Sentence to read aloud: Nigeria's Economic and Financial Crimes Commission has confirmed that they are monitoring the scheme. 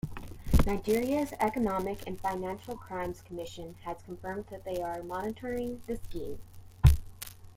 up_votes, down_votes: 2, 0